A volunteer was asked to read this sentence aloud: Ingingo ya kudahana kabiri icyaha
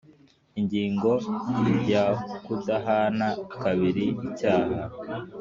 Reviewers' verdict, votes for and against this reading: accepted, 2, 0